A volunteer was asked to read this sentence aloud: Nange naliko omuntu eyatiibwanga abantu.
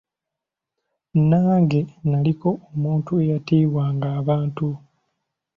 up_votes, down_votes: 2, 0